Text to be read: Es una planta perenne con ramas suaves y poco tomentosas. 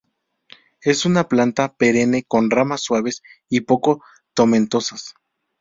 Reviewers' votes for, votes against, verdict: 0, 2, rejected